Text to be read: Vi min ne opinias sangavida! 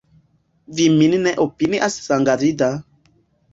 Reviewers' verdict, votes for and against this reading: accepted, 2, 0